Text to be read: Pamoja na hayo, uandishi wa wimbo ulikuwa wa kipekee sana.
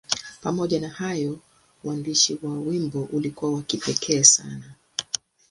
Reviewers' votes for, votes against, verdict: 3, 3, rejected